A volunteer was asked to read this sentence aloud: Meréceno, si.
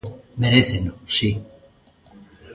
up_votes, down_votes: 1, 2